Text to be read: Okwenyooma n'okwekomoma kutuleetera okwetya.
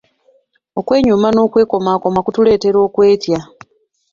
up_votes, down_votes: 2, 0